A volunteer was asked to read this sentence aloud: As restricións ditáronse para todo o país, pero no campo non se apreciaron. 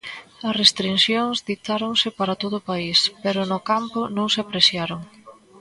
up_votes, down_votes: 0, 2